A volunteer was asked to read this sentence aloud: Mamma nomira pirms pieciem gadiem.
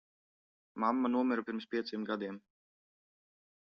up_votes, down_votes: 2, 1